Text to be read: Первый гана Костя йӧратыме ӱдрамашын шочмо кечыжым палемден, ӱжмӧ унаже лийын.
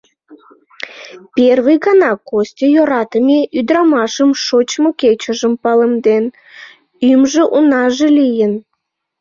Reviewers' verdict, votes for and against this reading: rejected, 0, 2